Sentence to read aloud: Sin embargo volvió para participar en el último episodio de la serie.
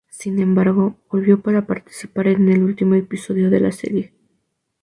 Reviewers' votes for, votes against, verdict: 2, 0, accepted